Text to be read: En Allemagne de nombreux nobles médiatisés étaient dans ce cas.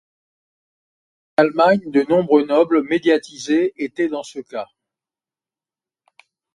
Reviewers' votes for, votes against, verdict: 1, 2, rejected